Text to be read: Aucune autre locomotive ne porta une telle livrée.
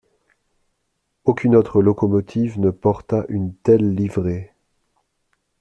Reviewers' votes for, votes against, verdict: 2, 0, accepted